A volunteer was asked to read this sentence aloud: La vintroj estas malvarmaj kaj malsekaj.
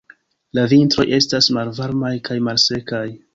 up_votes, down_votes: 0, 2